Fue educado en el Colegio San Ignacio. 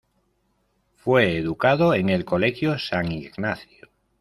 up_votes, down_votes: 2, 0